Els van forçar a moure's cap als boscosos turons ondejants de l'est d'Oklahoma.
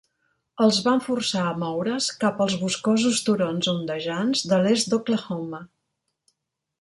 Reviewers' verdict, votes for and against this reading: accepted, 2, 0